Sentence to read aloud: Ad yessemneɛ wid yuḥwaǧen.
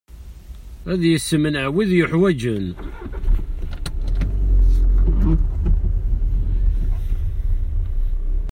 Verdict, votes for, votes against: rejected, 0, 2